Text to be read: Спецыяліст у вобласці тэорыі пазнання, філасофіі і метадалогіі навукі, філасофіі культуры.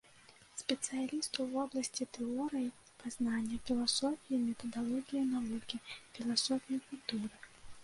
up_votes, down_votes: 2, 0